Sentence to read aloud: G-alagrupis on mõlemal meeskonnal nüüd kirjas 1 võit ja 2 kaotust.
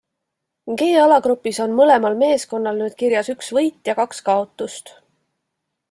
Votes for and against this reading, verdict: 0, 2, rejected